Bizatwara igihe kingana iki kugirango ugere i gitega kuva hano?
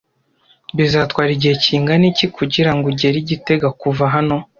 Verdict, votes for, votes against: accepted, 2, 0